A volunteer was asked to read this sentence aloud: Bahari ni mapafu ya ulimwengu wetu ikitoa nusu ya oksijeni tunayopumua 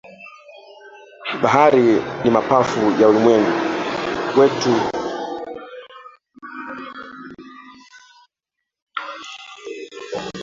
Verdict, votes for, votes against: rejected, 0, 2